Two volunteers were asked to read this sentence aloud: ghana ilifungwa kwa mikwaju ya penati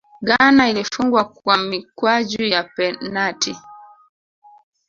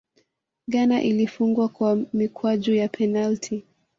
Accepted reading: first